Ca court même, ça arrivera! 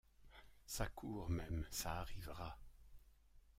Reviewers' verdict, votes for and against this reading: rejected, 1, 2